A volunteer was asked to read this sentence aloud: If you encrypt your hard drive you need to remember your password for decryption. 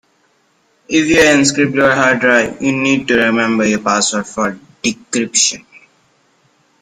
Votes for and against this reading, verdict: 1, 2, rejected